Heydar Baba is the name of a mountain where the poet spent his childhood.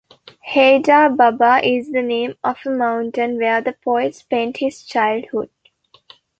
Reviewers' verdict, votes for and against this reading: accepted, 2, 0